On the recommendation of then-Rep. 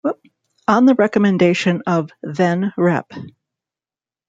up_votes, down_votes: 1, 2